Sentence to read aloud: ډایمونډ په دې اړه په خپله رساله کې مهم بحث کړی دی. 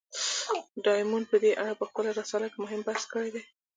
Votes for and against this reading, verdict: 1, 2, rejected